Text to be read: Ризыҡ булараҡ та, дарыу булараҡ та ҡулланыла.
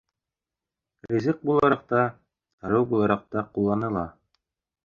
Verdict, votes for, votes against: accepted, 2, 1